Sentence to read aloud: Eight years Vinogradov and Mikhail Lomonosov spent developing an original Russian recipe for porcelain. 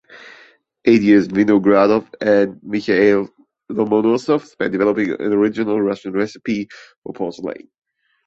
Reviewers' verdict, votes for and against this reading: rejected, 0, 2